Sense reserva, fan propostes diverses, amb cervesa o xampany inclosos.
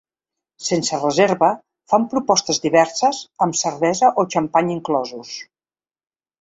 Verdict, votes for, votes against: accepted, 6, 0